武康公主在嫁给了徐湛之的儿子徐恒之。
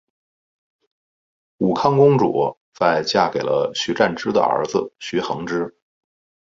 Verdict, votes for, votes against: accepted, 2, 0